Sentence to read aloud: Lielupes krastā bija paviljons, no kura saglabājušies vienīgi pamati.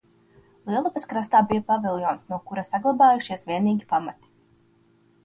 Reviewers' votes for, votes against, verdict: 2, 0, accepted